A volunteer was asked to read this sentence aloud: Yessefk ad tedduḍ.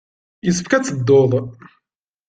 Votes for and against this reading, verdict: 2, 0, accepted